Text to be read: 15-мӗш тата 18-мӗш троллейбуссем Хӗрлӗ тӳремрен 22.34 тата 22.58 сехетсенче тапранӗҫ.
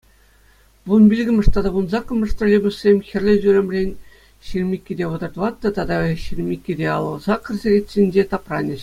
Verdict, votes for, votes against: rejected, 0, 2